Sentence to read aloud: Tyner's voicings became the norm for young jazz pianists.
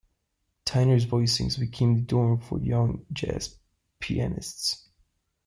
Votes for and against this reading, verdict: 0, 2, rejected